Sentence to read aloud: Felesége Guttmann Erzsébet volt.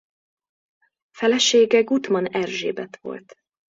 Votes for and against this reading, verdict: 2, 0, accepted